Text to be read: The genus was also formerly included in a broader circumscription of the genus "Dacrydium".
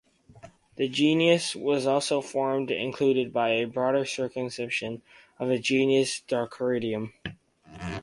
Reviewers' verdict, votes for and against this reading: rejected, 0, 4